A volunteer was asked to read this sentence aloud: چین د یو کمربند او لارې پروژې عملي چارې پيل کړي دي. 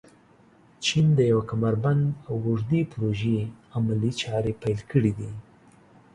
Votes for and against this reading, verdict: 1, 2, rejected